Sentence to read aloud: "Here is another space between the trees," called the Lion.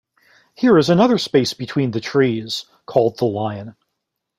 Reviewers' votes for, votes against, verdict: 2, 0, accepted